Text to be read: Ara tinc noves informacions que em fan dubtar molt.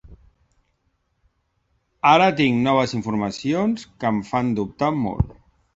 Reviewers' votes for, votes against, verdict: 3, 0, accepted